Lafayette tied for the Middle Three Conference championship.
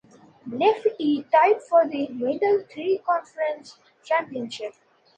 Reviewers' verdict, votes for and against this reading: rejected, 0, 2